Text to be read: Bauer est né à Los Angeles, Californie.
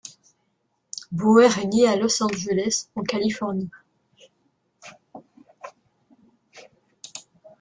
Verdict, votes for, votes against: rejected, 1, 2